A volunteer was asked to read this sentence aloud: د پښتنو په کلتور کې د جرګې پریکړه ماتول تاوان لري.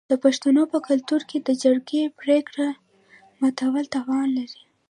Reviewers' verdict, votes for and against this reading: rejected, 1, 2